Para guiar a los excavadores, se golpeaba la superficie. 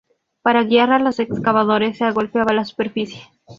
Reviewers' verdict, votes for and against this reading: accepted, 2, 0